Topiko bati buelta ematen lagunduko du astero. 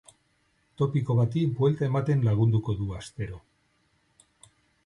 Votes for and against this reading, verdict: 6, 0, accepted